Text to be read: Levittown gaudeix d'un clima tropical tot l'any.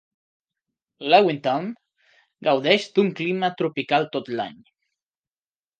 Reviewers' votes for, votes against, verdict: 2, 0, accepted